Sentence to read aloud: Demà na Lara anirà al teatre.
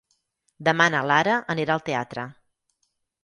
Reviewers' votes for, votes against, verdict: 6, 0, accepted